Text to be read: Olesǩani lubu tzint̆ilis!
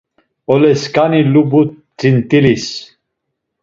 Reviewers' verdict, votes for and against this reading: accepted, 2, 0